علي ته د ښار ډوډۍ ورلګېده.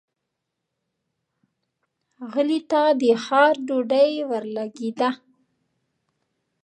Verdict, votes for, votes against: rejected, 0, 2